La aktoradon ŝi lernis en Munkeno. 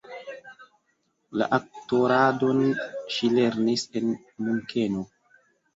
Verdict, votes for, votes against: accepted, 2, 1